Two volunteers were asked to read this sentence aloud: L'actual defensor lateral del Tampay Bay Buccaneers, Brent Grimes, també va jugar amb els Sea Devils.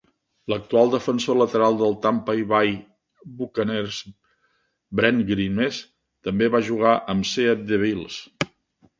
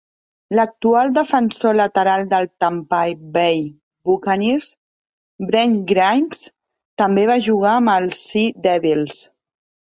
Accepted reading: second